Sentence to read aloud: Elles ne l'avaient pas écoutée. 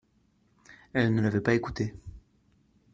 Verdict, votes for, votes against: rejected, 1, 2